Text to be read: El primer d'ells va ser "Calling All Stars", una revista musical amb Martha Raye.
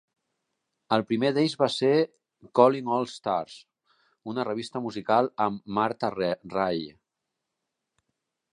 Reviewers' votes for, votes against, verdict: 0, 2, rejected